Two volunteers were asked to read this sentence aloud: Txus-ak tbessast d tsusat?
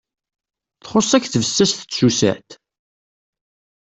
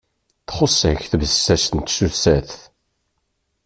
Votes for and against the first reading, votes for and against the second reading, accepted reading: 2, 0, 1, 2, first